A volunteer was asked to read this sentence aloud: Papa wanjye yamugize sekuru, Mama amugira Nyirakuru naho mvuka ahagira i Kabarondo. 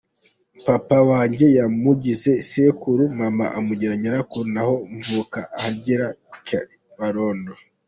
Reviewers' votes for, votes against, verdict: 2, 0, accepted